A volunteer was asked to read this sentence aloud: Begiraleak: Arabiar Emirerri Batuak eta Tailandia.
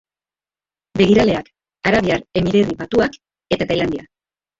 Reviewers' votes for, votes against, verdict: 0, 2, rejected